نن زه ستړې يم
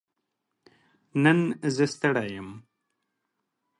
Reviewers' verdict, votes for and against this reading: accepted, 2, 1